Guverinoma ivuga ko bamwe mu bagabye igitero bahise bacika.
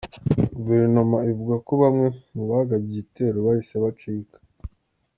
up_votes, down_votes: 2, 0